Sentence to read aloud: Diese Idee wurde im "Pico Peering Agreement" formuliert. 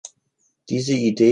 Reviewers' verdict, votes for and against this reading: rejected, 0, 3